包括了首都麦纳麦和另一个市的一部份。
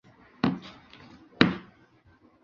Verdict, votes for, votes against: rejected, 1, 4